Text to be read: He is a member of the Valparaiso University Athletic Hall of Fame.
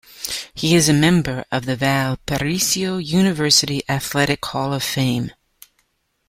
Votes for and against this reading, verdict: 1, 2, rejected